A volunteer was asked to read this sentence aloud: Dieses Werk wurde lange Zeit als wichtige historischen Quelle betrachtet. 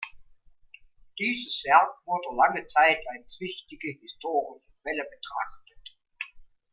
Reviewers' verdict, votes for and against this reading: rejected, 1, 2